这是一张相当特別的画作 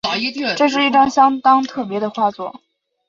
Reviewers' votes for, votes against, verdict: 2, 0, accepted